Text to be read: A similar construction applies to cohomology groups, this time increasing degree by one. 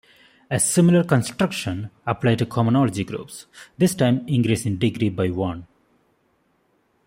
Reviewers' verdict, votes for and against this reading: accepted, 2, 1